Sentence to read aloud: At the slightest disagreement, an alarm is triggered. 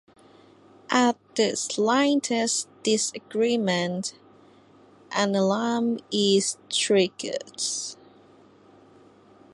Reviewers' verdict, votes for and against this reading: accepted, 2, 0